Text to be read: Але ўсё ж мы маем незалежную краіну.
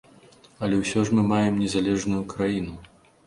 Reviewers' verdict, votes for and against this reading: accepted, 3, 0